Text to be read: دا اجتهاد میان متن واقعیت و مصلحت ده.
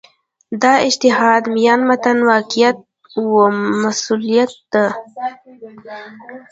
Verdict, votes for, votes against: accepted, 2, 1